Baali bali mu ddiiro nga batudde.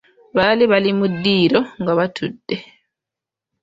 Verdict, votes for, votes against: accepted, 2, 0